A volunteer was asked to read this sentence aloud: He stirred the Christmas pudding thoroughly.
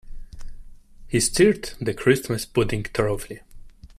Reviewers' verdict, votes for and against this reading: rejected, 0, 2